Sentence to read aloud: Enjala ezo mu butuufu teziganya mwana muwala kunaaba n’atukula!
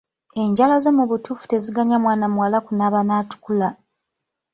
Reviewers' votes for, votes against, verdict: 0, 2, rejected